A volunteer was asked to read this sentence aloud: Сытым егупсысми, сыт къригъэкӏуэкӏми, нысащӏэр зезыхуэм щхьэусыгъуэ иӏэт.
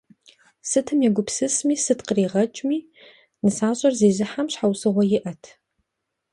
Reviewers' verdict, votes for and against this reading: rejected, 0, 2